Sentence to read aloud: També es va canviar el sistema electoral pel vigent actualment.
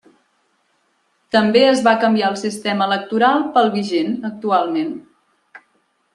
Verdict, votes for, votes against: accepted, 3, 0